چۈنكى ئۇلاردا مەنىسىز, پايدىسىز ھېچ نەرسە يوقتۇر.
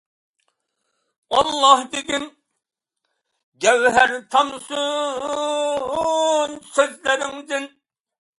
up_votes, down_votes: 0, 2